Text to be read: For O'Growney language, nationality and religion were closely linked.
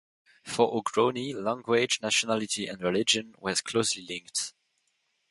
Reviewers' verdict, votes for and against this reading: rejected, 0, 2